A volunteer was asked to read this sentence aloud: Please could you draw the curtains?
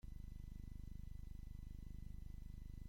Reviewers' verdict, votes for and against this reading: rejected, 0, 2